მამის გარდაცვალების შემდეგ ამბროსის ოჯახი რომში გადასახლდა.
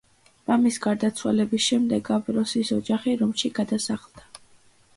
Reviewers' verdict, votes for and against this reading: accepted, 2, 0